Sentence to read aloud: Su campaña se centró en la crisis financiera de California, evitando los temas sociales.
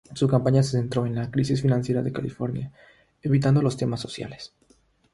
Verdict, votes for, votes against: accepted, 3, 0